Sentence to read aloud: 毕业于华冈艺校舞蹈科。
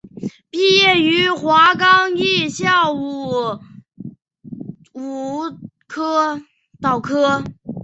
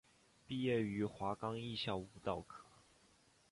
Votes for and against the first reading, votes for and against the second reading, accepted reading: 0, 2, 2, 0, second